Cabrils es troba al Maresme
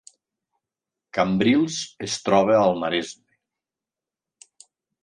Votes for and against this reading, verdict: 0, 2, rejected